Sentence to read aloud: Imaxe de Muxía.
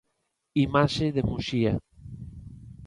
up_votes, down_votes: 2, 0